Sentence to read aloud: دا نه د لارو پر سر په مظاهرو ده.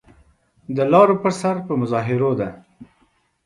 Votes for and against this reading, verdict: 0, 2, rejected